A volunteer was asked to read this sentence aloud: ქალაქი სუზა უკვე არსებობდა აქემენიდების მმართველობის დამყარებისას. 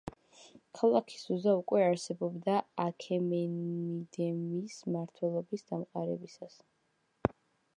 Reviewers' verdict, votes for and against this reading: rejected, 0, 2